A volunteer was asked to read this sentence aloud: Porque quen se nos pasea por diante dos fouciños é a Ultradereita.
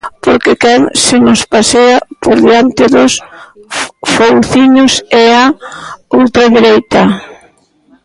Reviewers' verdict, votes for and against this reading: rejected, 0, 2